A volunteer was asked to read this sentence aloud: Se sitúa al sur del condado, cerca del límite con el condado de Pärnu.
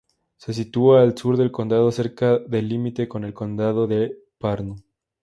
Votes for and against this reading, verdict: 2, 0, accepted